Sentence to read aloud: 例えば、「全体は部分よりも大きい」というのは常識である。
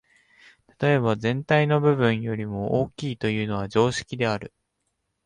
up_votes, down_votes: 1, 2